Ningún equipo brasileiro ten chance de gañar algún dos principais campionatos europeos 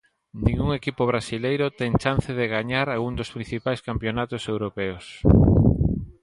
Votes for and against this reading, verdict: 2, 0, accepted